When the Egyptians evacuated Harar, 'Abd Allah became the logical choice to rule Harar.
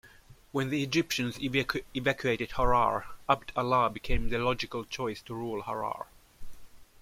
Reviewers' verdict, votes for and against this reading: rejected, 0, 2